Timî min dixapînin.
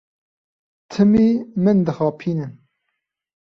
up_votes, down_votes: 2, 0